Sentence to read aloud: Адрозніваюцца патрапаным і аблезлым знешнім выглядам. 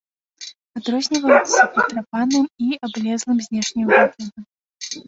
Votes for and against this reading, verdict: 0, 2, rejected